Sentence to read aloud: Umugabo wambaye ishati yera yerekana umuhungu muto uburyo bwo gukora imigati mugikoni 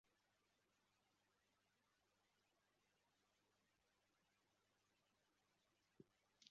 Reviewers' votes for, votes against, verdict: 0, 2, rejected